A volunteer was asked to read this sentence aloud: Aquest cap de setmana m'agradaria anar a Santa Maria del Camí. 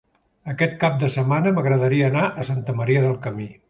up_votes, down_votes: 3, 0